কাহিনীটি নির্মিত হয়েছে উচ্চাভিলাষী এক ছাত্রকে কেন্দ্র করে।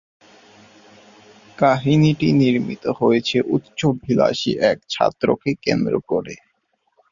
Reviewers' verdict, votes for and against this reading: rejected, 0, 3